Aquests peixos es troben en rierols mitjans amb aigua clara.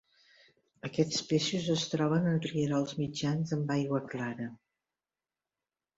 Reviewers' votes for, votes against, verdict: 2, 0, accepted